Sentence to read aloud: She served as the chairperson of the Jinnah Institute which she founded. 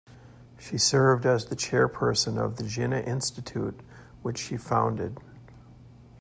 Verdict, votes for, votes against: accepted, 2, 0